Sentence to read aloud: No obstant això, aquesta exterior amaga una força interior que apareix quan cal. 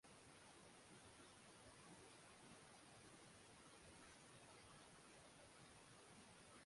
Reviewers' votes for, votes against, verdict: 0, 2, rejected